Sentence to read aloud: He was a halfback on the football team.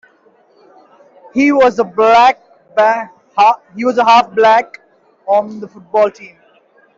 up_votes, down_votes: 0, 2